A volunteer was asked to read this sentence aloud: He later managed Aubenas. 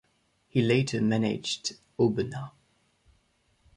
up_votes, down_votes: 2, 0